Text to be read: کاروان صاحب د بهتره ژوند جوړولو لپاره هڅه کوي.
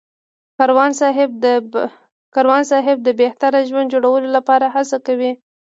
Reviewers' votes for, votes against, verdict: 2, 0, accepted